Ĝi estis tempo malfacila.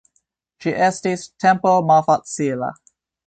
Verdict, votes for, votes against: accepted, 2, 0